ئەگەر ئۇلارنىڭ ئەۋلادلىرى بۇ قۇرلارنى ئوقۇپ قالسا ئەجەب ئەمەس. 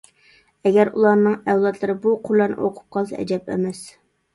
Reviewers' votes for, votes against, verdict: 2, 0, accepted